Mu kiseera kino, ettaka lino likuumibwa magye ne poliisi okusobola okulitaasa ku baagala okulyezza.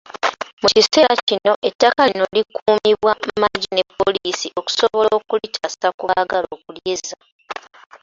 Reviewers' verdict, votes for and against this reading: rejected, 0, 2